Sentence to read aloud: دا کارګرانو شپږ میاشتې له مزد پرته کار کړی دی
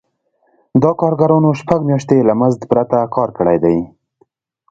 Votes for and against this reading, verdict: 2, 1, accepted